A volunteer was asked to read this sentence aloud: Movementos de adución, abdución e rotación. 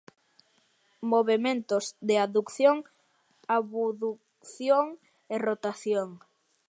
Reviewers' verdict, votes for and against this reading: rejected, 0, 2